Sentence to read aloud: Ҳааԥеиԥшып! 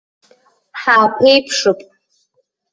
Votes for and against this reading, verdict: 1, 2, rejected